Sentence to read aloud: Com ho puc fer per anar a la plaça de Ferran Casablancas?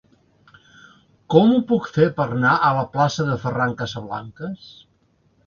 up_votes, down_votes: 1, 2